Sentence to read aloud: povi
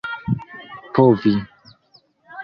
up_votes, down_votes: 1, 2